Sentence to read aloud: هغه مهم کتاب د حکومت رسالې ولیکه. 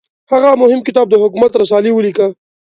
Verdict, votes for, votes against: accepted, 2, 0